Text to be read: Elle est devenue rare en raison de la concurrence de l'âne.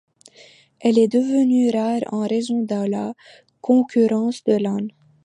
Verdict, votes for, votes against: rejected, 1, 2